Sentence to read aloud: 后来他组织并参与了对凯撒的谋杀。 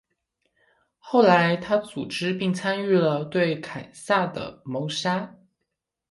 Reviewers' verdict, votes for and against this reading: accepted, 2, 0